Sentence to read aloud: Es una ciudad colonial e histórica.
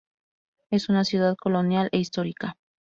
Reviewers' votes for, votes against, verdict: 2, 0, accepted